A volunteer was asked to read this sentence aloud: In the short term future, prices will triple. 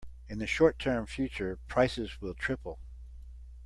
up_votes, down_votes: 2, 0